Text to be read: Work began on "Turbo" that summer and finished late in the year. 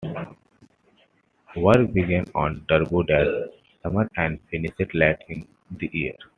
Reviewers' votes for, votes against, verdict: 2, 0, accepted